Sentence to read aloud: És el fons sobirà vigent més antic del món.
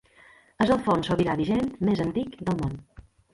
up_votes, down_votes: 1, 2